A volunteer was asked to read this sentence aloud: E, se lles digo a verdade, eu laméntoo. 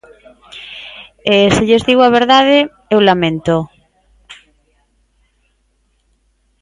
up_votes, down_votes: 3, 0